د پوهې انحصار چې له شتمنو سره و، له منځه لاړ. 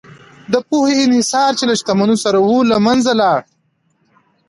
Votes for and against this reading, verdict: 2, 0, accepted